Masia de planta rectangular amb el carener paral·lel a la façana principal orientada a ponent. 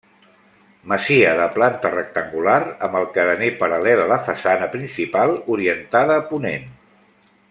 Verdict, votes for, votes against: rejected, 1, 2